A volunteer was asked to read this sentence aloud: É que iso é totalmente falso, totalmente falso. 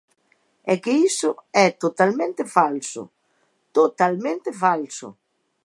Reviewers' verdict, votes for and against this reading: accepted, 2, 0